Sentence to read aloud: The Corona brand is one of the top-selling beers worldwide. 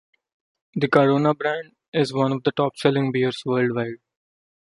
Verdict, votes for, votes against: accepted, 3, 1